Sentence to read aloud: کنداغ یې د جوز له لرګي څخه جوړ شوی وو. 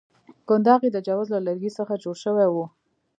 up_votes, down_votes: 2, 0